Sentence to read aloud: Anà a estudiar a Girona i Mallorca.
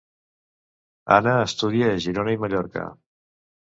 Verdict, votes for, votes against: rejected, 1, 2